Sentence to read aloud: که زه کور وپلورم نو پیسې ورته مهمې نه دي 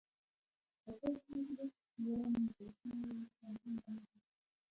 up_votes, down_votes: 1, 2